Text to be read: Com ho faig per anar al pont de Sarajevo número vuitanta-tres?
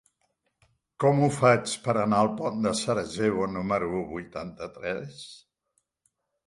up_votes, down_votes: 2, 0